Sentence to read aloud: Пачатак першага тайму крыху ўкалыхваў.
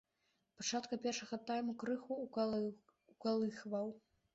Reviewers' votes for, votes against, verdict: 1, 2, rejected